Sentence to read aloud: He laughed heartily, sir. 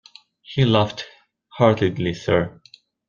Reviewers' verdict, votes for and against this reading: rejected, 0, 2